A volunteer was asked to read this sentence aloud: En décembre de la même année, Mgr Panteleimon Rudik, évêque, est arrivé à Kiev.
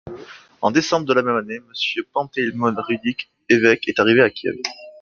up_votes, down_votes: 2, 1